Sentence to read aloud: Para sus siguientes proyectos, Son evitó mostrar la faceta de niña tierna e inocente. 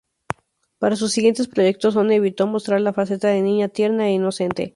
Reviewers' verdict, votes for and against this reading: rejected, 0, 2